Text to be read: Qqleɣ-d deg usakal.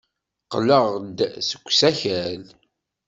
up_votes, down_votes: 1, 2